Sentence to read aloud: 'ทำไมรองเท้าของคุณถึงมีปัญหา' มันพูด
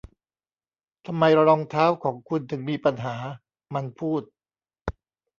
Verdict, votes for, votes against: rejected, 0, 2